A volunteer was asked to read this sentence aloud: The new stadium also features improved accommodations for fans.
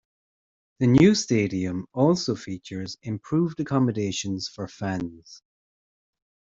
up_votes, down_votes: 2, 0